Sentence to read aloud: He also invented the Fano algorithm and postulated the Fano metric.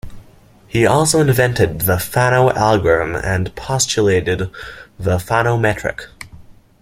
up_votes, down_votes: 2, 0